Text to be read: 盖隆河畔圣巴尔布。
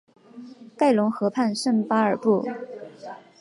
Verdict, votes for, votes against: accepted, 3, 0